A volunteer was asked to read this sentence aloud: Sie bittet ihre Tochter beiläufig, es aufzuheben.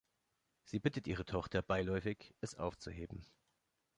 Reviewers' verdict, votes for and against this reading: accepted, 2, 0